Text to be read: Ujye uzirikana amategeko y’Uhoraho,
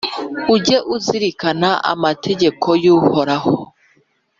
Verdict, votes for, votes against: accepted, 2, 0